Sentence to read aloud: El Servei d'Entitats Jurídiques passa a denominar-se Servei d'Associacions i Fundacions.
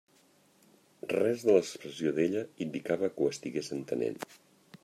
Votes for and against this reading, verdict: 0, 2, rejected